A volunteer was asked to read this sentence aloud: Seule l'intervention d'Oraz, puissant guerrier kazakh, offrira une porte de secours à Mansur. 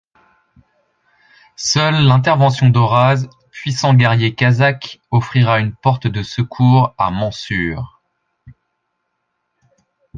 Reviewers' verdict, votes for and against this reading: accepted, 2, 0